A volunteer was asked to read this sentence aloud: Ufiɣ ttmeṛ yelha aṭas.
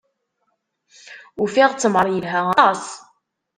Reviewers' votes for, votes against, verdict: 1, 2, rejected